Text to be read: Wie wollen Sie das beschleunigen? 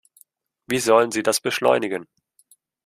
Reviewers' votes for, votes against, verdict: 0, 2, rejected